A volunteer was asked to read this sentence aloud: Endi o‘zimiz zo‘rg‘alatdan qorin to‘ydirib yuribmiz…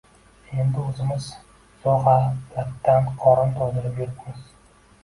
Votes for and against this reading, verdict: 0, 2, rejected